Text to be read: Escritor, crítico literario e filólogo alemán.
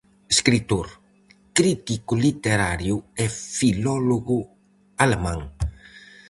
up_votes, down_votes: 4, 0